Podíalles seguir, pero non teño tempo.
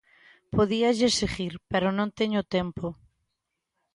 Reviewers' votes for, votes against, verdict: 2, 0, accepted